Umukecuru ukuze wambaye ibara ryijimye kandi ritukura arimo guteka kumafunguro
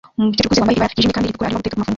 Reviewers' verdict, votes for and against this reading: rejected, 0, 3